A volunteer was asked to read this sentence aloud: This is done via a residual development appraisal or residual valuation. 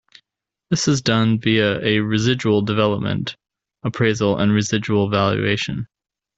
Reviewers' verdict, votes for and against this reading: rejected, 1, 2